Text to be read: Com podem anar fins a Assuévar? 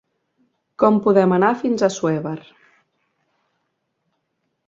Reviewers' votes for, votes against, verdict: 2, 3, rejected